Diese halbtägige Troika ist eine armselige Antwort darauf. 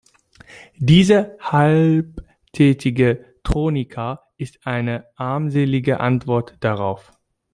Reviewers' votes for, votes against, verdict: 0, 2, rejected